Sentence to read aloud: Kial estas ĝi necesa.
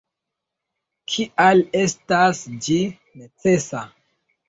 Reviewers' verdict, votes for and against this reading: rejected, 0, 2